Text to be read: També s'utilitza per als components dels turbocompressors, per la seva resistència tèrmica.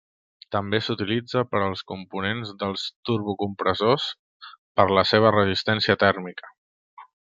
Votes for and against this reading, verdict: 3, 0, accepted